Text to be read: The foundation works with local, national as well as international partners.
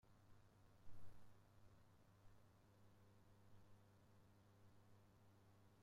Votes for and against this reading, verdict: 0, 2, rejected